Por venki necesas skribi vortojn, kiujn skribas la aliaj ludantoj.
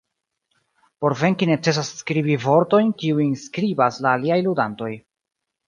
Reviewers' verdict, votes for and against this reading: accepted, 2, 0